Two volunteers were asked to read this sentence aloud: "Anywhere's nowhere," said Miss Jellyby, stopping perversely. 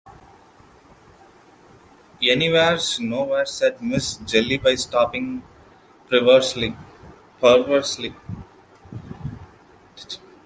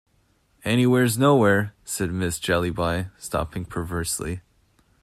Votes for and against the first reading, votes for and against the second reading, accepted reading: 0, 2, 2, 0, second